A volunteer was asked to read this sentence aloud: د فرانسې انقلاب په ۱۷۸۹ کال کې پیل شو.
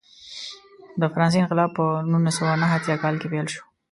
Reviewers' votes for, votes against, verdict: 0, 2, rejected